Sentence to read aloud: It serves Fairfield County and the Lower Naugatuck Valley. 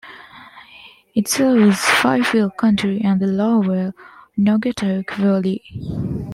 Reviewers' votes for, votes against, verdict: 0, 2, rejected